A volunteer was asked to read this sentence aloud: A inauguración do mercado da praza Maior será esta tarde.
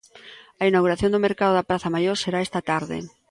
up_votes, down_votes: 2, 0